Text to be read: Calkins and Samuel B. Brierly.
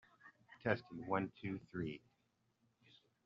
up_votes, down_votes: 1, 2